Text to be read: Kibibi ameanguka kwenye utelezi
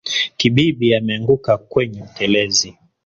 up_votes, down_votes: 3, 0